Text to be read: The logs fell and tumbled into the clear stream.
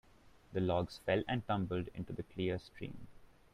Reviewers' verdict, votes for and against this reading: rejected, 0, 2